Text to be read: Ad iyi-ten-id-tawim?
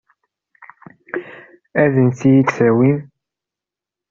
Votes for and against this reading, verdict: 0, 2, rejected